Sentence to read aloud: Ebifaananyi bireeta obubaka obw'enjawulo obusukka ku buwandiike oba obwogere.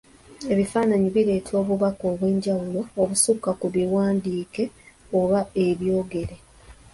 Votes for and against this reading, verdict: 0, 2, rejected